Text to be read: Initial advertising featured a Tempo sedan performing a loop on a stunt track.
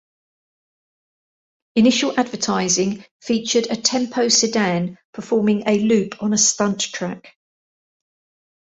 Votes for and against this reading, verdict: 2, 0, accepted